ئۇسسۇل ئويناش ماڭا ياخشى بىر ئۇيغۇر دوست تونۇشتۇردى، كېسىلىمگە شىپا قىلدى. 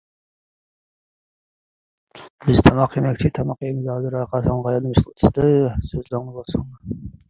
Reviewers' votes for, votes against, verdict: 0, 2, rejected